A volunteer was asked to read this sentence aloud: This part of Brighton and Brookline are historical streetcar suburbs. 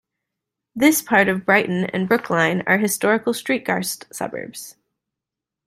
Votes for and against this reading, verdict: 2, 1, accepted